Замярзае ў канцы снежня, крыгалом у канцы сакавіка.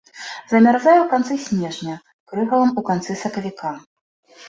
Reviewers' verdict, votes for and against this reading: rejected, 1, 2